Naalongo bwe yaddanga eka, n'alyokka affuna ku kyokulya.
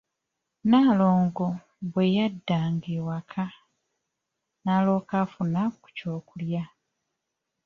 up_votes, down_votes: 0, 2